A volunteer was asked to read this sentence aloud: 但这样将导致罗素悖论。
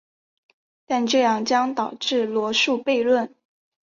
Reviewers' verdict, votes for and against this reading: accepted, 2, 0